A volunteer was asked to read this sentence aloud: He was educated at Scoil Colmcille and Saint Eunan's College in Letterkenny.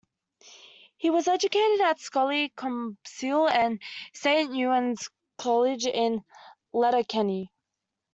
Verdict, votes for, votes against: rejected, 1, 2